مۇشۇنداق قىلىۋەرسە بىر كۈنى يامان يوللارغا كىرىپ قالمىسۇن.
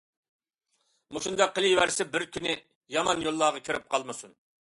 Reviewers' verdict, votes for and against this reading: accepted, 2, 0